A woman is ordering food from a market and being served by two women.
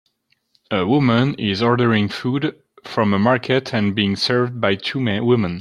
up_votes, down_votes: 0, 2